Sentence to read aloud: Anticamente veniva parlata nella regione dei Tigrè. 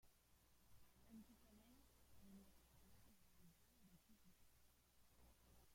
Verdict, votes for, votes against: rejected, 0, 2